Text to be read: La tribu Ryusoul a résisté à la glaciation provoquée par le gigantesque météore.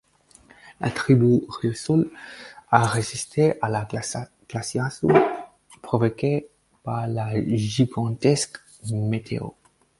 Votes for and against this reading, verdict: 2, 4, rejected